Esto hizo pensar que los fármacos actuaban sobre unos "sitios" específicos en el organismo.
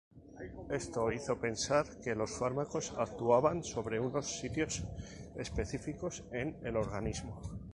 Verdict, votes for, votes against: accepted, 4, 0